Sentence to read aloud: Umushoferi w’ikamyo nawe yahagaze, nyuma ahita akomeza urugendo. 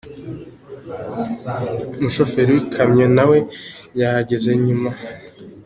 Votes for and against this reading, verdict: 0, 2, rejected